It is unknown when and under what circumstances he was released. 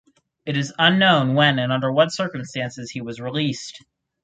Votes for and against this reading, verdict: 4, 0, accepted